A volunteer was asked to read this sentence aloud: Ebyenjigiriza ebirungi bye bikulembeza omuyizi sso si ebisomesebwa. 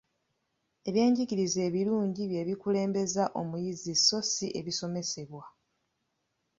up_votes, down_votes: 2, 0